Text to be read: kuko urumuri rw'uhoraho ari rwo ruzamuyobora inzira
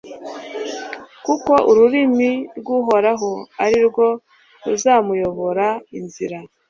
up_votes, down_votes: 2, 0